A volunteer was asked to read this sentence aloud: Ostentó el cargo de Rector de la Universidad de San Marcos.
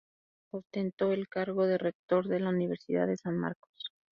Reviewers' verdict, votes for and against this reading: accepted, 4, 0